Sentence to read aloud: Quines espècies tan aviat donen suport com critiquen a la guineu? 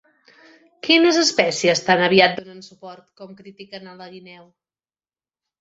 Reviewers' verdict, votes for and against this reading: rejected, 1, 2